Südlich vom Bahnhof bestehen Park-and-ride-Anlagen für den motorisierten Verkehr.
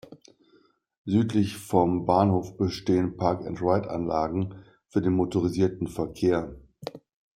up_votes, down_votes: 2, 0